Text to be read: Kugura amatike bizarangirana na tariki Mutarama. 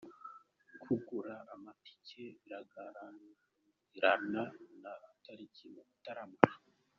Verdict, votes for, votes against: rejected, 0, 2